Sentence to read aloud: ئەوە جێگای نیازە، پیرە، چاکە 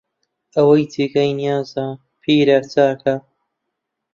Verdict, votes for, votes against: rejected, 0, 2